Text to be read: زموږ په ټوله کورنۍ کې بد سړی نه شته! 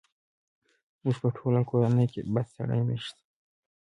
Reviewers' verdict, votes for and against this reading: accepted, 2, 1